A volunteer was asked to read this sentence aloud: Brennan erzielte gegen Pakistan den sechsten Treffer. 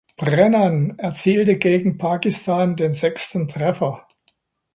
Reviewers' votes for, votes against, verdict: 2, 0, accepted